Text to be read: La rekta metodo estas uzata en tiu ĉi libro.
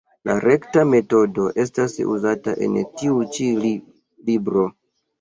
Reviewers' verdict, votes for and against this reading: rejected, 1, 2